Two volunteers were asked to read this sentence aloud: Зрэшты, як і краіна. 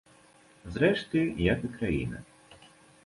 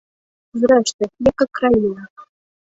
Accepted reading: first